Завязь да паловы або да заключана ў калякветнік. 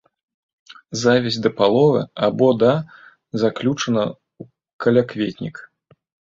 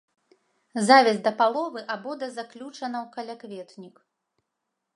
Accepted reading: second